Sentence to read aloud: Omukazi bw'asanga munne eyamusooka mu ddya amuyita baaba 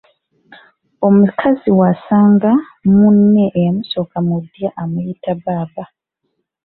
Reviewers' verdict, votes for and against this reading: rejected, 1, 2